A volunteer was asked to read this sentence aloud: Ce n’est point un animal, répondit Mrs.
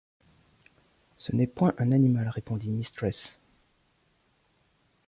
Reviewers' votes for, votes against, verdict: 0, 2, rejected